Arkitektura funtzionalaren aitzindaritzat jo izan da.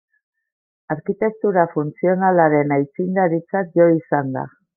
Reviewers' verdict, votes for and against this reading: accepted, 2, 0